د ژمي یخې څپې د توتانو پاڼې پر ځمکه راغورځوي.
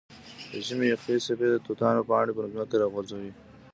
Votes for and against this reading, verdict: 2, 0, accepted